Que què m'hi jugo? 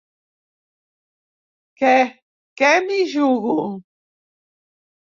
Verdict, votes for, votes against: rejected, 0, 2